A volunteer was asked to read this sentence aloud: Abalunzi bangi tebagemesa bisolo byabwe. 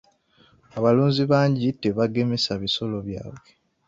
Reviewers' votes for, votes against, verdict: 0, 2, rejected